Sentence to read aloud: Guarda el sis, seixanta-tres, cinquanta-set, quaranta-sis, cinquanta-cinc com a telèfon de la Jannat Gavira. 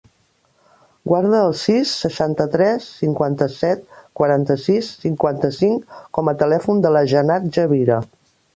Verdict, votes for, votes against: rejected, 1, 2